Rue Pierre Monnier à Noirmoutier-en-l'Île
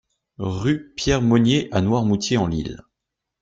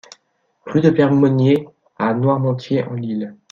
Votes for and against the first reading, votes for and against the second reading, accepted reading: 2, 0, 0, 2, first